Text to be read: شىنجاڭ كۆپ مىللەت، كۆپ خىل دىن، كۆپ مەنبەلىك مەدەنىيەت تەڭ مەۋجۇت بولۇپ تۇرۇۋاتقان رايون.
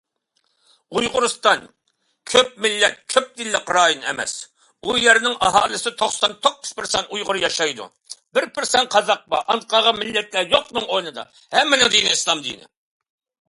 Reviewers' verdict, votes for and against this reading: rejected, 0, 2